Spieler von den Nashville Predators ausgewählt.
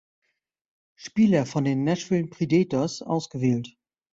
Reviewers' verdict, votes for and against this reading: rejected, 1, 2